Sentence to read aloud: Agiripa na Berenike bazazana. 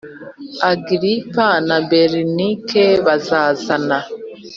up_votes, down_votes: 3, 0